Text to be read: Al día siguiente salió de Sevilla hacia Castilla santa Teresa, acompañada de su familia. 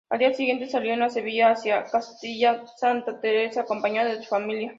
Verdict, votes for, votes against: rejected, 0, 2